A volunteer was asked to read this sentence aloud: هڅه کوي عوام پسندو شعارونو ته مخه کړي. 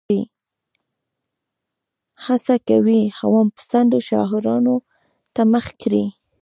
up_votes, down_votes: 1, 2